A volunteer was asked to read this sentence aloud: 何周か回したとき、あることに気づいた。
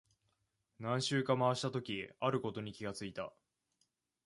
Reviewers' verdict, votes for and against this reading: rejected, 0, 2